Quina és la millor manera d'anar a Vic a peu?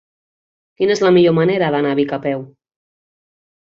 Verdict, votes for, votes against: accepted, 3, 0